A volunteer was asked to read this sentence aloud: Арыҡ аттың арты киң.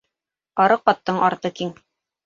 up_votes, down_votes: 3, 0